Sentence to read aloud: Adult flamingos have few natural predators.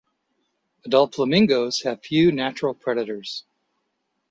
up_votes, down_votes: 2, 0